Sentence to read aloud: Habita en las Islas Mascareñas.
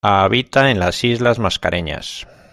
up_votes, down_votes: 2, 0